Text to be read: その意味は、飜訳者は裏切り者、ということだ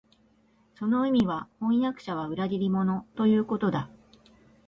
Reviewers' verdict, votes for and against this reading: accepted, 4, 2